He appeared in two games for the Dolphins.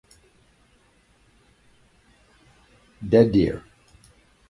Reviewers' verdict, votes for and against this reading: rejected, 0, 2